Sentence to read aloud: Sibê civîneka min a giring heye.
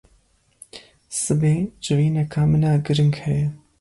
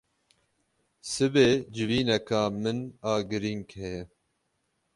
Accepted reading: first